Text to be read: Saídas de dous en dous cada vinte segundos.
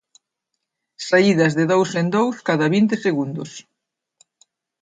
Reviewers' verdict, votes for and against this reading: accepted, 2, 0